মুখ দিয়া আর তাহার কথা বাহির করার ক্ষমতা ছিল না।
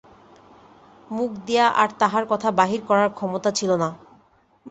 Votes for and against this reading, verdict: 2, 0, accepted